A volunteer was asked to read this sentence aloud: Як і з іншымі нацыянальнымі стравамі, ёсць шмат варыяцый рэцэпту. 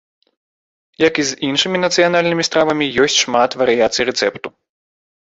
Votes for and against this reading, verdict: 2, 0, accepted